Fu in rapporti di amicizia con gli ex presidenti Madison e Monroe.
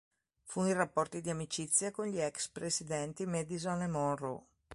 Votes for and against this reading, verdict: 2, 1, accepted